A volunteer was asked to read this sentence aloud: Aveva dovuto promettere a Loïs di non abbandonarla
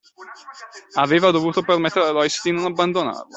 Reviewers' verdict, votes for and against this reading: accepted, 2, 1